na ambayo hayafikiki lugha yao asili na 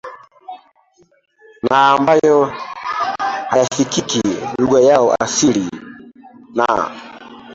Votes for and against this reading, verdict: 2, 1, accepted